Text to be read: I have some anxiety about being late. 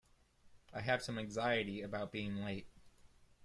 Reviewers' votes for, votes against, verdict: 2, 0, accepted